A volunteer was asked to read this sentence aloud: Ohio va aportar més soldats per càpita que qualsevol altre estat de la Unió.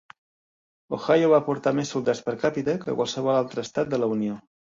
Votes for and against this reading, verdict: 2, 1, accepted